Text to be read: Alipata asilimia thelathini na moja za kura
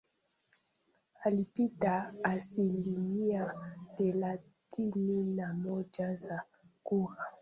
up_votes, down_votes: 1, 2